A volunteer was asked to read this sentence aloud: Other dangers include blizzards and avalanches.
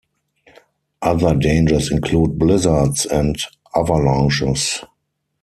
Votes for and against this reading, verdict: 2, 4, rejected